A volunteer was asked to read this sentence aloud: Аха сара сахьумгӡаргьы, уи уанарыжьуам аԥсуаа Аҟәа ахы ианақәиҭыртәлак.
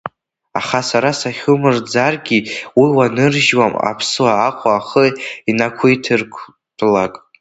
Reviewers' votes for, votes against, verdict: 0, 3, rejected